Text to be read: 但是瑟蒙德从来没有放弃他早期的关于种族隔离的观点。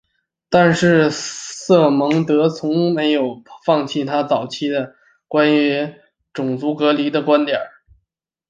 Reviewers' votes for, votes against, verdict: 3, 0, accepted